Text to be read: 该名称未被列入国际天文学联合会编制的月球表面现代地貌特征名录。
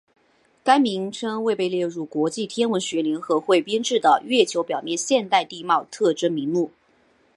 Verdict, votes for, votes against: rejected, 1, 2